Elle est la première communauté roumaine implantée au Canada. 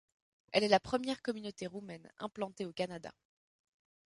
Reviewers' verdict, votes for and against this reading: rejected, 1, 2